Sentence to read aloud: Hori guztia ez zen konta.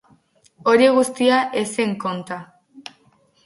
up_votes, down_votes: 0, 2